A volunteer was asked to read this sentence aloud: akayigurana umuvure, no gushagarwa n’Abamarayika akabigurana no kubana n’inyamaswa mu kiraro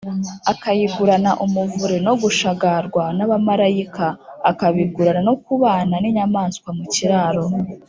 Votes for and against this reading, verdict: 6, 0, accepted